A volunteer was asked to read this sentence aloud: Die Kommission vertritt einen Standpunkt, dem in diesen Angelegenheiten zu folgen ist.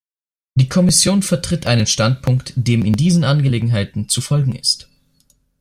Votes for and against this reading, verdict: 1, 2, rejected